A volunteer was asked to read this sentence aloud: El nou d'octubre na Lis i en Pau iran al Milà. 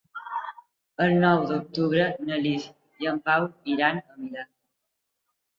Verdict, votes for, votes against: rejected, 1, 2